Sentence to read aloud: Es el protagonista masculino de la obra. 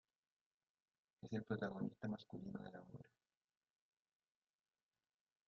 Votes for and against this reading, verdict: 0, 2, rejected